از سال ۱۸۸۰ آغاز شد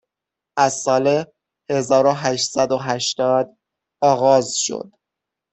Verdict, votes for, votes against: rejected, 0, 2